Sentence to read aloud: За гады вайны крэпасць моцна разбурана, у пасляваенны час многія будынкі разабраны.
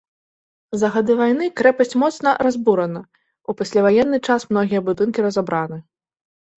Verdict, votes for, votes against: accepted, 2, 0